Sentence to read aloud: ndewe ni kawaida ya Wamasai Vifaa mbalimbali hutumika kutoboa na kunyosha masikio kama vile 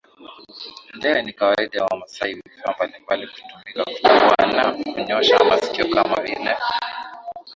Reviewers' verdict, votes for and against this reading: rejected, 0, 2